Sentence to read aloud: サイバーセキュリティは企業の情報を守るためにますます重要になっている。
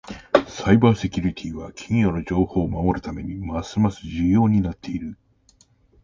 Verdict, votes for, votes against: rejected, 1, 2